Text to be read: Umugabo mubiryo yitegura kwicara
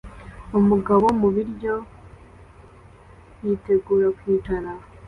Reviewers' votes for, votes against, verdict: 2, 0, accepted